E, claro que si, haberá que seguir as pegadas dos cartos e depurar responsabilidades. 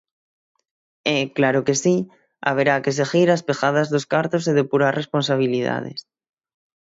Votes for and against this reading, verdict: 9, 0, accepted